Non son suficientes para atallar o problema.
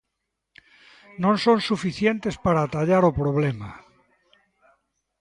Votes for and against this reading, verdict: 2, 0, accepted